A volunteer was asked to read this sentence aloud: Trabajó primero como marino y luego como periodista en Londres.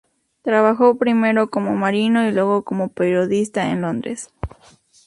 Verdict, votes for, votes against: accepted, 2, 0